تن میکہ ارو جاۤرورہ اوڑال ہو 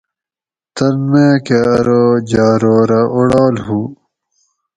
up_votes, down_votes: 4, 0